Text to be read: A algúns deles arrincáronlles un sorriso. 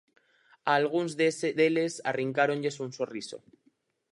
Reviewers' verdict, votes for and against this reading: rejected, 0, 4